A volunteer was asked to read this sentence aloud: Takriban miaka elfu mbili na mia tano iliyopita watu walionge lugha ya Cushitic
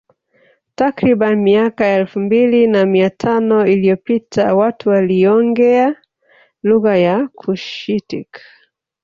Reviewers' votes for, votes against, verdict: 1, 3, rejected